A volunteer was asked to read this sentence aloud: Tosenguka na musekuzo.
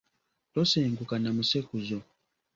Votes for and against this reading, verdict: 3, 0, accepted